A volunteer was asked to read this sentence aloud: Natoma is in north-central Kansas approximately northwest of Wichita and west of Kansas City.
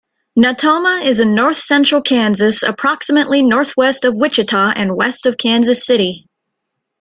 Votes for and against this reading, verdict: 2, 0, accepted